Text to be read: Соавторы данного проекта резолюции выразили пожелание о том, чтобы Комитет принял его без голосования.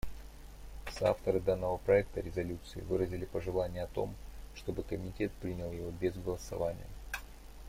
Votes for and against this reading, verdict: 2, 0, accepted